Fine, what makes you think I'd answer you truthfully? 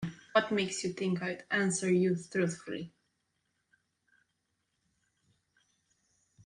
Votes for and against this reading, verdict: 0, 2, rejected